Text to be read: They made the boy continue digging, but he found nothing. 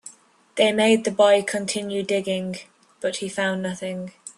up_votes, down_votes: 2, 0